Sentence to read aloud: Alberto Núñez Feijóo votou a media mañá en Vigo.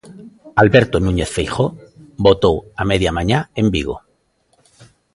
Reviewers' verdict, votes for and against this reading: rejected, 0, 2